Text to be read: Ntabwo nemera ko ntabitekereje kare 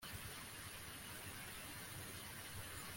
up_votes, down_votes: 0, 2